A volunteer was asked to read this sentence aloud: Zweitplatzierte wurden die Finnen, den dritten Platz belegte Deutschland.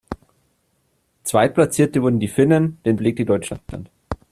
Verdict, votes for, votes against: rejected, 0, 2